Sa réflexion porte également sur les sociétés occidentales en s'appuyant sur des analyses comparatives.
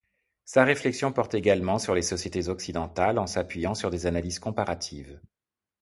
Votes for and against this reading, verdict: 2, 0, accepted